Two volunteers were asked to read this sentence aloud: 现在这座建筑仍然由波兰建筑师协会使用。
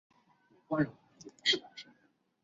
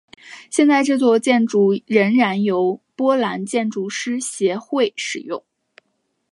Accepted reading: second